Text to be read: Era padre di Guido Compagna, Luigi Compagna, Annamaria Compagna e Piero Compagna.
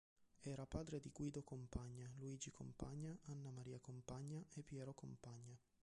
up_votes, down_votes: 2, 1